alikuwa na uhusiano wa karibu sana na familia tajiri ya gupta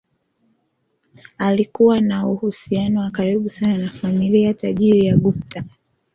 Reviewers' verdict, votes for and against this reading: accepted, 2, 1